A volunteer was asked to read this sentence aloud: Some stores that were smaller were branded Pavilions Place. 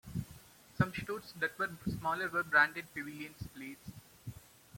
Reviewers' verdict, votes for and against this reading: rejected, 0, 2